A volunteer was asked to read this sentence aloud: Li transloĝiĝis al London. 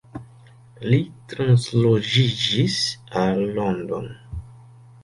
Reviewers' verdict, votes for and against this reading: accepted, 2, 0